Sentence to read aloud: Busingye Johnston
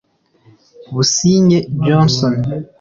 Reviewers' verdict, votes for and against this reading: rejected, 1, 2